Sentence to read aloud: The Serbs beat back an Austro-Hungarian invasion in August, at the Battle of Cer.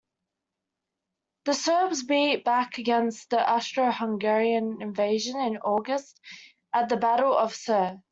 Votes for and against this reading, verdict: 0, 2, rejected